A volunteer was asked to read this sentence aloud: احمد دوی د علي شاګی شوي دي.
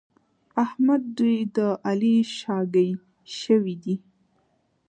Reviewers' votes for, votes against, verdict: 2, 0, accepted